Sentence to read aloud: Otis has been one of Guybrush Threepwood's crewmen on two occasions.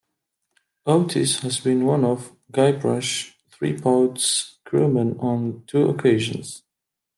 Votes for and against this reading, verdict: 2, 0, accepted